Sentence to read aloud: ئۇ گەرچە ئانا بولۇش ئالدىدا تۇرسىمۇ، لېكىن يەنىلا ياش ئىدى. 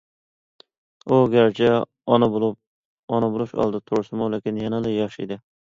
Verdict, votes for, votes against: rejected, 0, 2